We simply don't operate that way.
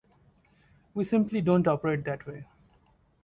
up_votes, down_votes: 2, 0